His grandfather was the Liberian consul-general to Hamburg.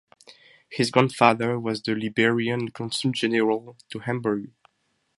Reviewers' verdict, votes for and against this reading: accepted, 4, 0